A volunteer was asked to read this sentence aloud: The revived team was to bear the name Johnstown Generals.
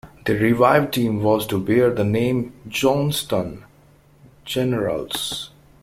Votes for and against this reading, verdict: 2, 1, accepted